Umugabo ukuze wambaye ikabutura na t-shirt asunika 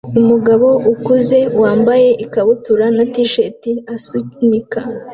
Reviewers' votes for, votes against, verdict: 2, 0, accepted